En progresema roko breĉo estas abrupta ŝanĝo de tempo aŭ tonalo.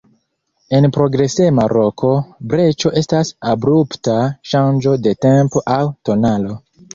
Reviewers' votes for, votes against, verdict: 3, 0, accepted